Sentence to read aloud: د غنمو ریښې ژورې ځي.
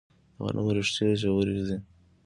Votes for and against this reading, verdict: 1, 2, rejected